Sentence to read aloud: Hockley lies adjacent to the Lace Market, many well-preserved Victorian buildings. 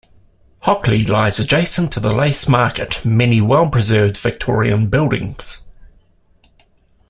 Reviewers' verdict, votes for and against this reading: accepted, 2, 0